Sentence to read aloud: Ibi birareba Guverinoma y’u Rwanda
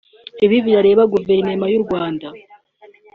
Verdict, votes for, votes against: accepted, 2, 0